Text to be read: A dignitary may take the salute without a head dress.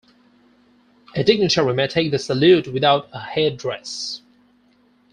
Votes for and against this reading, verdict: 4, 0, accepted